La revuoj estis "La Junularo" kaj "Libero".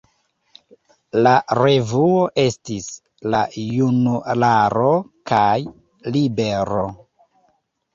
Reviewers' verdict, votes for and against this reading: accepted, 2, 1